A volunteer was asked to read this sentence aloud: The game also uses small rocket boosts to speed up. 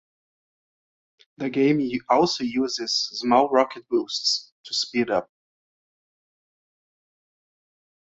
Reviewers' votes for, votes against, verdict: 0, 2, rejected